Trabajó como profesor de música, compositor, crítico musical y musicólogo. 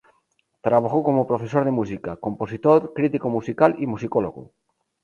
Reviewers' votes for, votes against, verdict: 0, 2, rejected